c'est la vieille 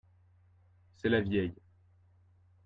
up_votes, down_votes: 2, 0